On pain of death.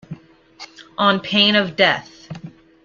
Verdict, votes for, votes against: accepted, 2, 0